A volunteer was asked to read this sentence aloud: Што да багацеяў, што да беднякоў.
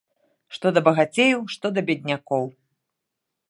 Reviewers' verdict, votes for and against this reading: accepted, 2, 0